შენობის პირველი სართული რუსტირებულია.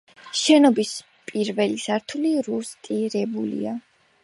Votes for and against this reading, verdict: 2, 0, accepted